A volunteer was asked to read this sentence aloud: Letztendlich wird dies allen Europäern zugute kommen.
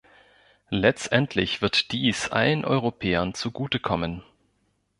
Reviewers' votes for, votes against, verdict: 2, 0, accepted